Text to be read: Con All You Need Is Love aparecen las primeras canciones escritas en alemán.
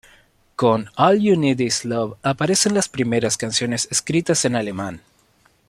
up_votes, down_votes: 2, 0